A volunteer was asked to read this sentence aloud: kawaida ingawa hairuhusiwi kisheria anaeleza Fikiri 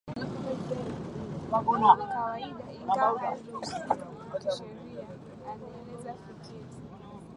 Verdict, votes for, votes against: rejected, 4, 8